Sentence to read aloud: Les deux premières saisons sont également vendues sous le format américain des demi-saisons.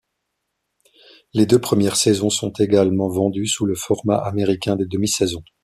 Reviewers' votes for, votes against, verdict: 2, 0, accepted